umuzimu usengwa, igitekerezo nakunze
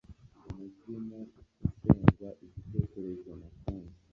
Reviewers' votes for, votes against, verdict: 0, 2, rejected